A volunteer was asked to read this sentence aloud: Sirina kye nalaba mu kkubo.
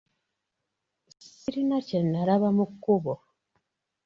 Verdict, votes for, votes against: accepted, 2, 0